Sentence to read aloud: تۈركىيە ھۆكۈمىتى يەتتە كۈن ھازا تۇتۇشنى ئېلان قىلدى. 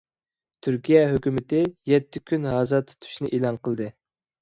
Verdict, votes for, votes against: accepted, 2, 0